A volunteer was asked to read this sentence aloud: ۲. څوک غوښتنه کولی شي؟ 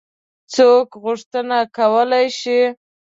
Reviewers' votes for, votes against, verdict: 0, 2, rejected